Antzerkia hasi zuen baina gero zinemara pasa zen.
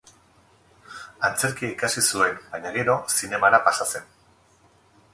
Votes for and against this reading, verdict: 2, 2, rejected